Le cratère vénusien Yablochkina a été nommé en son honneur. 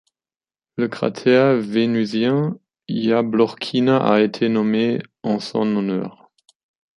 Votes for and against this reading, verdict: 2, 1, accepted